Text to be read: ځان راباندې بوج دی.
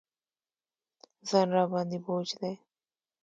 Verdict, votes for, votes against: accepted, 2, 1